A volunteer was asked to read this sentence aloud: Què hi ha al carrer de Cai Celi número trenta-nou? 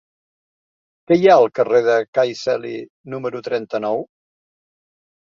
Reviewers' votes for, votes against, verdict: 3, 2, accepted